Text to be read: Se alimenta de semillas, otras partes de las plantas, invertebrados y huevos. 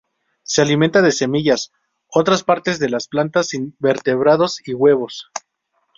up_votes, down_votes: 0, 2